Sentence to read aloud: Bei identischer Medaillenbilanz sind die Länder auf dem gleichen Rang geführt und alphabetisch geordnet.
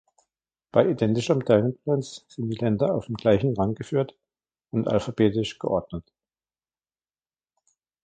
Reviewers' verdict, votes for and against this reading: rejected, 0, 2